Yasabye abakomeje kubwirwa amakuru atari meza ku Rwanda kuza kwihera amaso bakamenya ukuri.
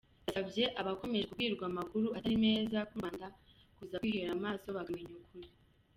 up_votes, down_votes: 2, 0